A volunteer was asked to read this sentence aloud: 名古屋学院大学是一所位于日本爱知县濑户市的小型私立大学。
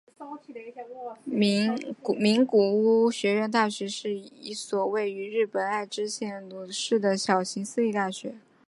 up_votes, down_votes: 0, 2